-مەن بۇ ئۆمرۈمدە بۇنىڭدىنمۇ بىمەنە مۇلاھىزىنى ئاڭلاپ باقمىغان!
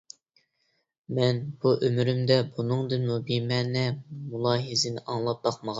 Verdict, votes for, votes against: accepted, 2, 0